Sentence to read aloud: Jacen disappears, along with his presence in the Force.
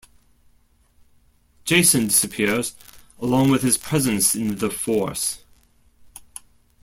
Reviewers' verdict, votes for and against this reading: accepted, 2, 1